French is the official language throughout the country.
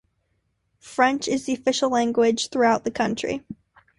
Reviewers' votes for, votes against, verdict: 2, 0, accepted